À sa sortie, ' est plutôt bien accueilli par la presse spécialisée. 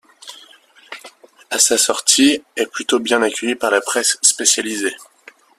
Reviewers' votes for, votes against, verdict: 1, 2, rejected